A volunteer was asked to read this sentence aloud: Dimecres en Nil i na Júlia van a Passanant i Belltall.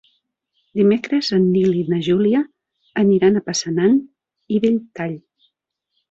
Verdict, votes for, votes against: rejected, 0, 2